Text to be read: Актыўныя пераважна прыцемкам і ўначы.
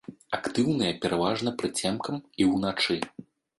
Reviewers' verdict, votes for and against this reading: rejected, 1, 2